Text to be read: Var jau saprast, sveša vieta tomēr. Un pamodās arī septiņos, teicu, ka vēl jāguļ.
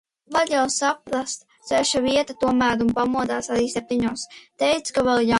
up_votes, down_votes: 0, 2